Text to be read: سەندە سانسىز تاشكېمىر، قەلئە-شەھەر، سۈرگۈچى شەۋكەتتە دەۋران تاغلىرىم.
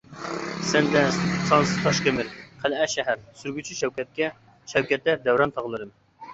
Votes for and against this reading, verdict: 0, 2, rejected